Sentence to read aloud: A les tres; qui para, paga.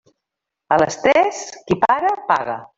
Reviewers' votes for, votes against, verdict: 0, 2, rejected